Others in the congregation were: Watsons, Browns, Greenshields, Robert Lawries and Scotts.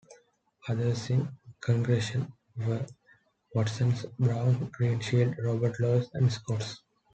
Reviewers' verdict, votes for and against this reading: rejected, 1, 2